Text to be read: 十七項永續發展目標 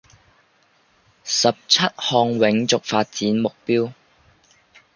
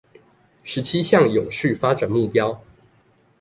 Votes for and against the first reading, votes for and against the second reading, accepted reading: 0, 2, 2, 0, second